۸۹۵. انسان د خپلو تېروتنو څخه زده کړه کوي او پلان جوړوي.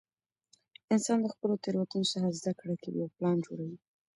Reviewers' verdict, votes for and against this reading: rejected, 0, 2